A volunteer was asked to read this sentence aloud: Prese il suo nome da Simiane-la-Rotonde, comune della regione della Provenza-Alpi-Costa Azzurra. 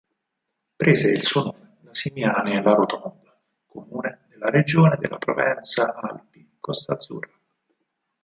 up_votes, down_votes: 2, 4